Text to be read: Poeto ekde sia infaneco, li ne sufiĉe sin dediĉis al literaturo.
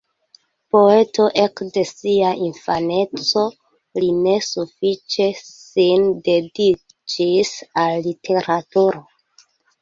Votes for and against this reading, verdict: 2, 1, accepted